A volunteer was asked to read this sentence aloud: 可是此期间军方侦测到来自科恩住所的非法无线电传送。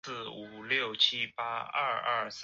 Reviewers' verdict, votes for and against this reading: rejected, 1, 2